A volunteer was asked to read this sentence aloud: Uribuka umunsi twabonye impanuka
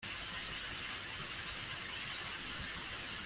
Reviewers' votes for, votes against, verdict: 0, 2, rejected